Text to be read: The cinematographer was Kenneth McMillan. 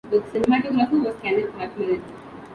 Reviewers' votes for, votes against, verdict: 2, 5, rejected